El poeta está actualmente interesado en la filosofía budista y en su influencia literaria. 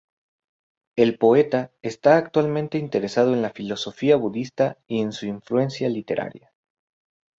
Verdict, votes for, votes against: accepted, 2, 0